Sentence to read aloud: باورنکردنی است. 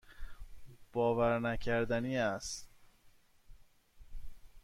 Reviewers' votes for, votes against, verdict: 2, 0, accepted